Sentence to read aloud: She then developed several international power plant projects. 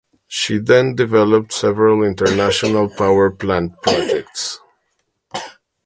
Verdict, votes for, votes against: accepted, 2, 1